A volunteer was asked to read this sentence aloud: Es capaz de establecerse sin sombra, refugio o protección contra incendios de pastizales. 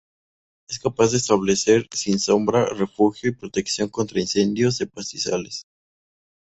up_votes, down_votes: 0, 2